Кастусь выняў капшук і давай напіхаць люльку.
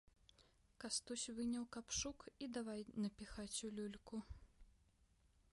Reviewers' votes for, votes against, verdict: 0, 2, rejected